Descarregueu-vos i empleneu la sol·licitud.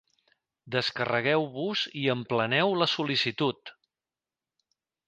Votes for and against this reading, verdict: 2, 0, accepted